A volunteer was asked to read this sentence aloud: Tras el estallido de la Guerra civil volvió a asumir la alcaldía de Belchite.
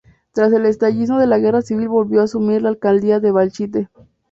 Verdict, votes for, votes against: rejected, 0, 2